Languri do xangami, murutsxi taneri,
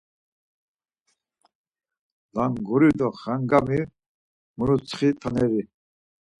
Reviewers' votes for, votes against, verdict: 4, 0, accepted